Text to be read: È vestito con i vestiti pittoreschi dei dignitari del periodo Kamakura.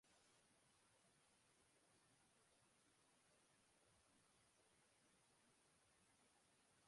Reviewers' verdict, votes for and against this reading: rejected, 0, 2